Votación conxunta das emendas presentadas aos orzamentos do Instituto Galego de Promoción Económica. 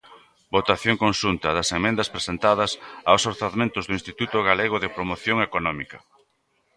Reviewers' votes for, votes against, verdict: 2, 1, accepted